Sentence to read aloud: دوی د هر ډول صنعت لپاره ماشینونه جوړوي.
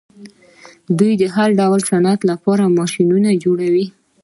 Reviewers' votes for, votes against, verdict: 2, 0, accepted